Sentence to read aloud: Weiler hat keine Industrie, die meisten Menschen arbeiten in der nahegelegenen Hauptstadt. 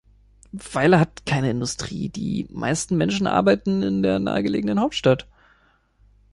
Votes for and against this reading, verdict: 2, 1, accepted